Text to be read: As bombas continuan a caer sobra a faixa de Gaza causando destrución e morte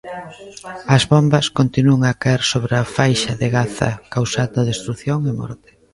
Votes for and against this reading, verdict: 0, 2, rejected